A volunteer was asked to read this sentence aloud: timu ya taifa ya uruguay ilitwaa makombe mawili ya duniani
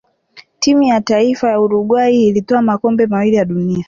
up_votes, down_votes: 3, 1